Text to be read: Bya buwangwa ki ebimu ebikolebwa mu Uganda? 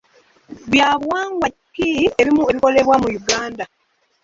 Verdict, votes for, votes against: rejected, 1, 2